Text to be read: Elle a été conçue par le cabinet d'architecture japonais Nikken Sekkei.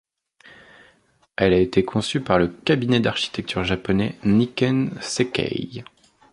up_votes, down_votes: 2, 0